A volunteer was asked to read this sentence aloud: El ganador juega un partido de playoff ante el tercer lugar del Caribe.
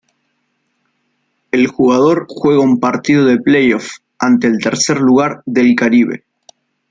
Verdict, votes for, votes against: rejected, 0, 2